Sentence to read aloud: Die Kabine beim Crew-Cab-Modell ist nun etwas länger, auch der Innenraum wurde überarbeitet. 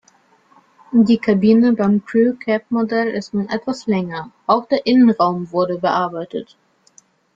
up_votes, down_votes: 0, 2